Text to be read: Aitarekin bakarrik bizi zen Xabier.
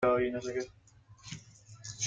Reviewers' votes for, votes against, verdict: 0, 2, rejected